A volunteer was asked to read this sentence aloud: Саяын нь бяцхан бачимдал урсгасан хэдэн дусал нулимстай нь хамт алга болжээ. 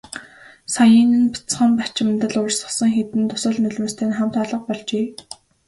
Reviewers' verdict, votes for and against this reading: accepted, 2, 1